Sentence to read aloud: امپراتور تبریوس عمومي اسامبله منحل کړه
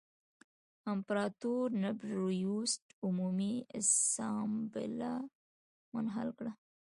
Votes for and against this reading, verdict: 1, 2, rejected